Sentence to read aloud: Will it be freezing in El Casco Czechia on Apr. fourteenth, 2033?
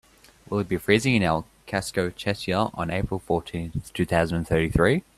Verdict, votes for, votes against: rejected, 0, 2